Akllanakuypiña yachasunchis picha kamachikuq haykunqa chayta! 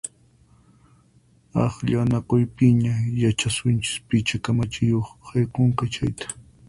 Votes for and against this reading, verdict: 2, 4, rejected